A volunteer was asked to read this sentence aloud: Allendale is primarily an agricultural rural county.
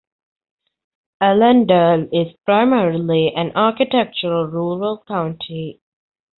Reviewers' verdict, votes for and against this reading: rejected, 0, 2